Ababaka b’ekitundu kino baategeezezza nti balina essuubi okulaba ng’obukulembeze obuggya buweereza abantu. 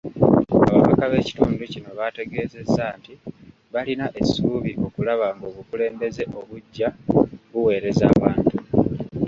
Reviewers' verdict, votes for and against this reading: rejected, 0, 2